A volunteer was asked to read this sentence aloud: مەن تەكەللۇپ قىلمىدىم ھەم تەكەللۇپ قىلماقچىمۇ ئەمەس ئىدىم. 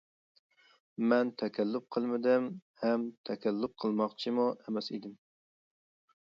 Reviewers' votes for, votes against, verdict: 2, 0, accepted